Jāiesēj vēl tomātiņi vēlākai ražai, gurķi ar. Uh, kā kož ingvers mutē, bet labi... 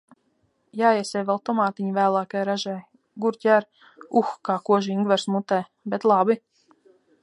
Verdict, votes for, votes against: accepted, 2, 0